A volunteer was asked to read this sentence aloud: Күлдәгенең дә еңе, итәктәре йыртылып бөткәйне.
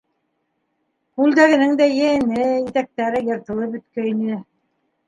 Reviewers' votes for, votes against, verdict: 1, 2, rejected